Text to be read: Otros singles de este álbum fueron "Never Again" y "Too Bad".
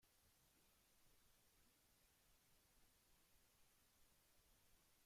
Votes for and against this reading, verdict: 0, 2, rejected